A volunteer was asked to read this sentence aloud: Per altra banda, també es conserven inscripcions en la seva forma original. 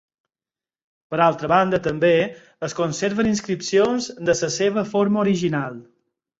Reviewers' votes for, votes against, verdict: 0, 4, rejected